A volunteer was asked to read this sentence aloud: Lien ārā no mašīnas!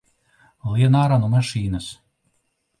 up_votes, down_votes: 1, 2